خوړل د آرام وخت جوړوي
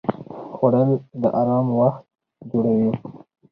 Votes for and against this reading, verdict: 4, 0, accepted